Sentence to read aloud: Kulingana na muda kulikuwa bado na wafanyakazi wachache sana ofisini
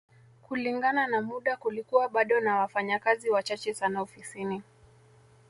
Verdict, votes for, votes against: rejected, 1, 2